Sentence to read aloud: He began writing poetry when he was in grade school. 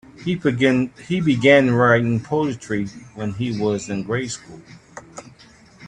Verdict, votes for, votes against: rejected, 1, 2